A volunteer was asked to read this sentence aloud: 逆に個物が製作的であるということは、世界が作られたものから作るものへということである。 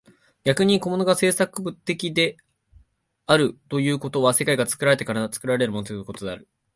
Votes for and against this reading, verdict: 1, 4, rejected